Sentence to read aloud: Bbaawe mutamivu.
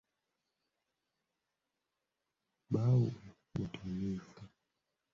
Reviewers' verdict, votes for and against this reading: rejected, 1, 2